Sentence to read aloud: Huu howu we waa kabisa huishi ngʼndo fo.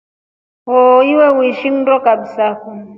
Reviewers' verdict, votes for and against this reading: rejected, 1, 2